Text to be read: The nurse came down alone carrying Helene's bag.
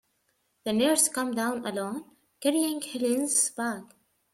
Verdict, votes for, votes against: rejected, 0, 2